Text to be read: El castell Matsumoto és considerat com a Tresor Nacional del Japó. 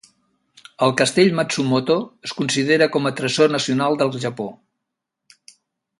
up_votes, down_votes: 0, 2